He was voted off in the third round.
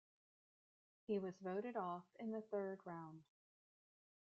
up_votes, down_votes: 2, 0